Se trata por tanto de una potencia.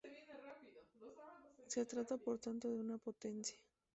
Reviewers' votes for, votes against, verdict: 2, 2, rejected